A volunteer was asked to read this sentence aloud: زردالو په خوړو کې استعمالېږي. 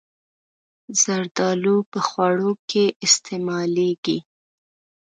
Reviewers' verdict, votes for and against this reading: accepted, 4, 0